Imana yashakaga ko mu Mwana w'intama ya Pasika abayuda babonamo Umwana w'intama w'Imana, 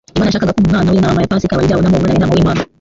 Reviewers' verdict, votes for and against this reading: rejected, 0, 2